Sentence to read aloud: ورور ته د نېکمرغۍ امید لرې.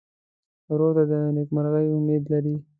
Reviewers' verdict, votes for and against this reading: accepted, 2, 0